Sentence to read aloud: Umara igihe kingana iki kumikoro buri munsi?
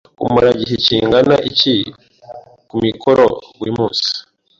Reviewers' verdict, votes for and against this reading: accepted, 2, 0